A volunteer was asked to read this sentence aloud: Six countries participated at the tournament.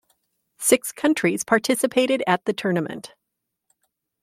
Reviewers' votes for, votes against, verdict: 2, 0, accepted